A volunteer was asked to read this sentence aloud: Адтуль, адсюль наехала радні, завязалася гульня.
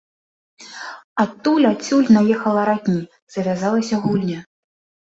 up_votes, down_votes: 2, 0